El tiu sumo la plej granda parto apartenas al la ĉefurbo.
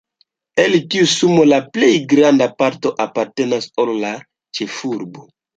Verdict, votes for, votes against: rejected, 1, 2